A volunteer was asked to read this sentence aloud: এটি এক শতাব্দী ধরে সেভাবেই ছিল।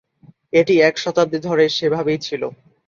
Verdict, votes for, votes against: accepted, 2, 0